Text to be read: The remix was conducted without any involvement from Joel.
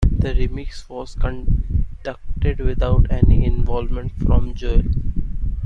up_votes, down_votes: 2, 1